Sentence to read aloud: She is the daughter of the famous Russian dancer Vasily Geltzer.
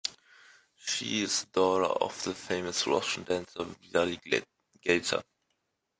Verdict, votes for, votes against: rejected, 0, 2